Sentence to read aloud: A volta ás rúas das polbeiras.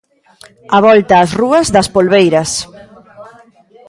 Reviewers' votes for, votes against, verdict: 0, 2, rejected